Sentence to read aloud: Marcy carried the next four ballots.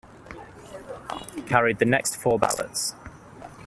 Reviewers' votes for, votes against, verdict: 0, 2, rejected